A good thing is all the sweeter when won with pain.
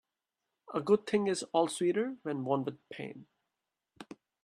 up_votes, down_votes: 0, 2